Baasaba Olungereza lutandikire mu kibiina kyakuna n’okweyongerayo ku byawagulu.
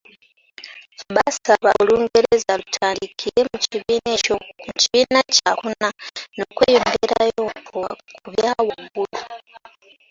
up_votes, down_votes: 0, 2